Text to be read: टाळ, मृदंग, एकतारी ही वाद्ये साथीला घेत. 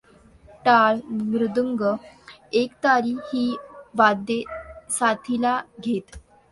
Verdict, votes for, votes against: accepted, 2, 0